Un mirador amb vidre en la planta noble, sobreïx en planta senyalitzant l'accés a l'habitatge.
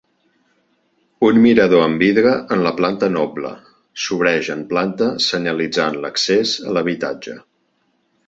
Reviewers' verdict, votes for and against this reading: rejected, 1, 2